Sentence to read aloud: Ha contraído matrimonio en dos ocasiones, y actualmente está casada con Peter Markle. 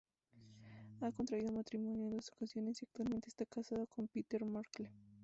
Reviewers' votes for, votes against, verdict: 0, 2, rejected